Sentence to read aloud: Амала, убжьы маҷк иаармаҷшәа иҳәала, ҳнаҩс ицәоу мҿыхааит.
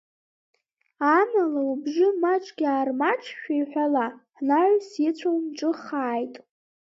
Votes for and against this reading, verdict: 0, 2, rejected